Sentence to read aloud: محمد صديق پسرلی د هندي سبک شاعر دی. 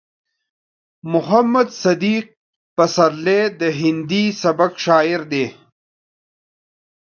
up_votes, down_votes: 2, 1